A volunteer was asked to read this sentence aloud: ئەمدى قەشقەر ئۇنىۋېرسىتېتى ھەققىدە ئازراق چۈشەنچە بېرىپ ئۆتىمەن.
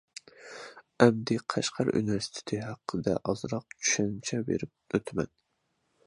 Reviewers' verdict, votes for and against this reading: accepted, 2, 0